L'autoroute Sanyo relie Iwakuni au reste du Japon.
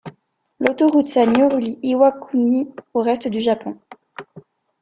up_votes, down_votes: 2, 0